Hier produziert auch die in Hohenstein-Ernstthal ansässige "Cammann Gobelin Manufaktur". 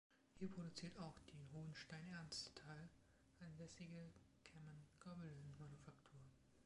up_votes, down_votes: 1, 2